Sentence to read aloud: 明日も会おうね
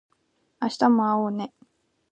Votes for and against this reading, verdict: 2, 0, accepted